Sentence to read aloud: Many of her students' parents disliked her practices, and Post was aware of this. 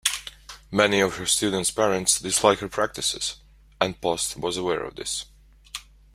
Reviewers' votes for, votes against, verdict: 2, 0, accepted